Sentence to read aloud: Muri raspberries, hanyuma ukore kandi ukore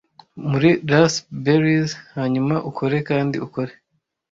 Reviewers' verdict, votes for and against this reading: rejected, 0, 2